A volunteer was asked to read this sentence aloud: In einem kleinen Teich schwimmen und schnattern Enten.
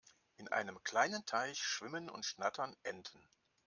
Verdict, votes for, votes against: accepted, 2, 0